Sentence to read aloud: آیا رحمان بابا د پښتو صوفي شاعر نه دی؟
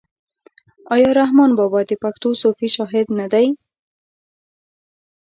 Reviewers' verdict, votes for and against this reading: rejected, 1, 2